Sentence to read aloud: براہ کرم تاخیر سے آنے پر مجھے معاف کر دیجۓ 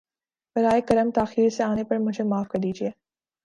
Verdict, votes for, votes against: accepted, 2, 0